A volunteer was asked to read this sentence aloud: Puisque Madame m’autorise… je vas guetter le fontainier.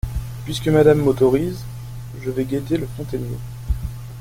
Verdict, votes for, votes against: rejected, 0, 2